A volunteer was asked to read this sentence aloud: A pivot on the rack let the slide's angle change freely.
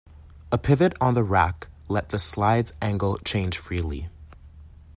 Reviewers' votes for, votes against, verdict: 2, 0, accepted